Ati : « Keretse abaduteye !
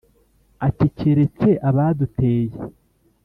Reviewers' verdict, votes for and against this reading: accepted, 2, 0